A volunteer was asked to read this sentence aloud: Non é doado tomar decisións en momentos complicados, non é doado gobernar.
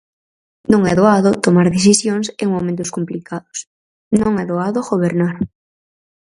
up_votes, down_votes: 4, 0